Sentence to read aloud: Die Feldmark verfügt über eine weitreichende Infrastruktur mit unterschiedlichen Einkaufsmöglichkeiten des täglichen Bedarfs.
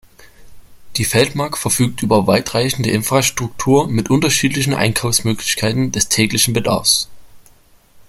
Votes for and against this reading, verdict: 0, 2, rejected